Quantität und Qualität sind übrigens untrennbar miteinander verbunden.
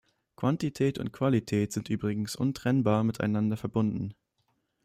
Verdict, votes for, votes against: accepted, 2, 0